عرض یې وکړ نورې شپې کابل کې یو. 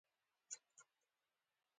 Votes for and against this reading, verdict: 0, 2, rejected